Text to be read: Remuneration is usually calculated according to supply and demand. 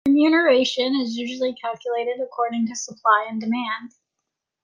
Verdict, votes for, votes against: rejected, 1, 2